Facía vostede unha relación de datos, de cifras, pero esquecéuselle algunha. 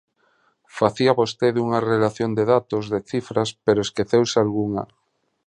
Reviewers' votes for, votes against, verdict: 0, 2, rejected